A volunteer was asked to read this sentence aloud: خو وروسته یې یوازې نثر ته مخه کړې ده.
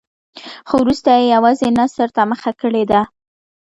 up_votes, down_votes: 2, 0